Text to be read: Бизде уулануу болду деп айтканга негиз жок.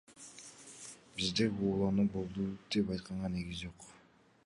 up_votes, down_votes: 1, 2